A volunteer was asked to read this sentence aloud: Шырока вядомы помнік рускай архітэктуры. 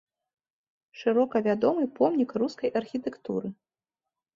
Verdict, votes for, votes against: accepted, 3, 0